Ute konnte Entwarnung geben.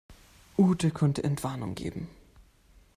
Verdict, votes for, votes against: accepted, 2, 0